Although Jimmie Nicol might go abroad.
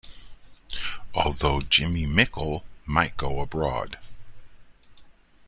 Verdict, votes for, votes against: rejected, 1, 2